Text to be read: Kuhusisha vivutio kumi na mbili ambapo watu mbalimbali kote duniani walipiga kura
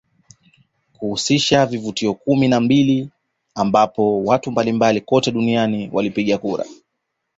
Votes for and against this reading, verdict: 2, 1, accepted